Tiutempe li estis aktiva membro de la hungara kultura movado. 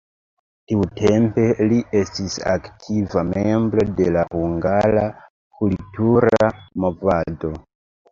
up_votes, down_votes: 2, 1